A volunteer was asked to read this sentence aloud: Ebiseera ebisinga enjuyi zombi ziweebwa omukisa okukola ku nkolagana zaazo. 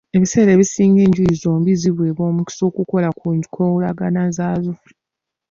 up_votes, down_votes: 1, 3